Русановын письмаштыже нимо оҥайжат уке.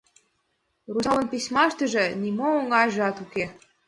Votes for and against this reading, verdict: 1, 2, rejected